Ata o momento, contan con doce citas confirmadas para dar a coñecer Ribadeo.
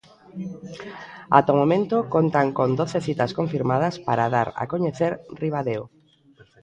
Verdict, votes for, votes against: accepted, 2, 0